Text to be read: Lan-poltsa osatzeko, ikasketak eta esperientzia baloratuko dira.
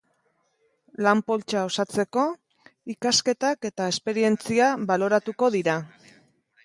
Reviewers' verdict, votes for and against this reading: accepted, 2, 0